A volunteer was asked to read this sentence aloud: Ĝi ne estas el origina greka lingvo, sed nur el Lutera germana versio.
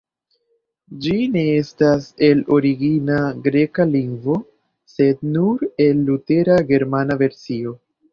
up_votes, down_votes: 2, 1